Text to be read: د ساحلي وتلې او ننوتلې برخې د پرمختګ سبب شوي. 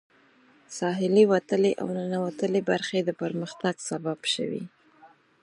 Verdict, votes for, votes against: accepted, 4, 0